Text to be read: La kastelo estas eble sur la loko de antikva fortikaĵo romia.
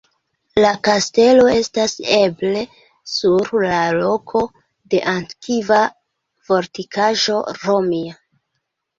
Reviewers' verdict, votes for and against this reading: rejected, 0, 2